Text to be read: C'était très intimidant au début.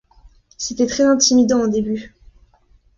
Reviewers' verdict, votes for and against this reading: accepted, 2, 0